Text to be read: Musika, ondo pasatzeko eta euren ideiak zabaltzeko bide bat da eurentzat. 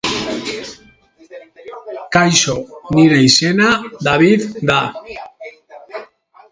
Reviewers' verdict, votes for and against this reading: rejected, 0, 3